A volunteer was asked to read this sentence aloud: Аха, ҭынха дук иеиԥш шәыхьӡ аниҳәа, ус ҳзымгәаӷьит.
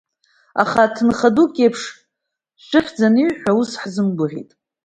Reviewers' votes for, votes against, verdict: 2, 0, accepted